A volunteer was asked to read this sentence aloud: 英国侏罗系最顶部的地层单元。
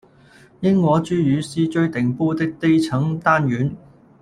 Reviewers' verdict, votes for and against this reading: rejected, 0, 2